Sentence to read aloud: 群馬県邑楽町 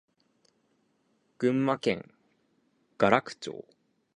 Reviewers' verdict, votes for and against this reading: accepted, 4, 0